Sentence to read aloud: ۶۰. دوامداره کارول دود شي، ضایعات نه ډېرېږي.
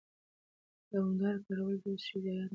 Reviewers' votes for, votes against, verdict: 0, 2, rejected